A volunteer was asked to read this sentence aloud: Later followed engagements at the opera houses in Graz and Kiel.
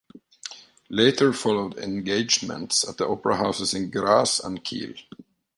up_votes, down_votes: 3, 0